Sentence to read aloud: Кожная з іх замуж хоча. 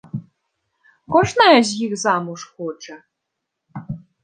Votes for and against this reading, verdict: 2, 0, accepted